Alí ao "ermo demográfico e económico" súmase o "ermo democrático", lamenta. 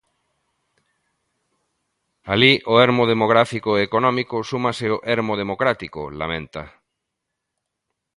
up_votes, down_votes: 2, 0